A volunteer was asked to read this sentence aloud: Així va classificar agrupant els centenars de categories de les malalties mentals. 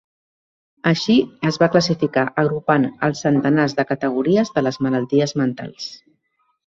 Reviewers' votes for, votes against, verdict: 0, 2, rejected